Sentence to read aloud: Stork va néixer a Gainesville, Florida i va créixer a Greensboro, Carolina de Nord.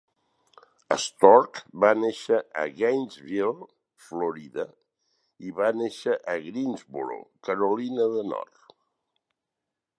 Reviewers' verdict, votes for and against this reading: rejected, 2, 6